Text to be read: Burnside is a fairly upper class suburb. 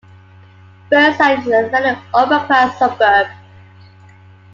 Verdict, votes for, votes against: accepted, 2, 0